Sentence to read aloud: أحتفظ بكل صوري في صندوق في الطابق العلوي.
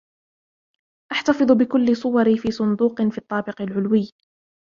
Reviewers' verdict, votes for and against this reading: rejected, 1, 2